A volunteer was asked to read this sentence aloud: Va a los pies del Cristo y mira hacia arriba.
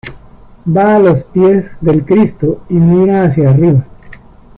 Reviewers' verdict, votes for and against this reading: accepted, 2, 0